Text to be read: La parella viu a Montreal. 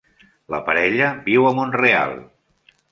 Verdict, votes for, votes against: accepted, 2, 1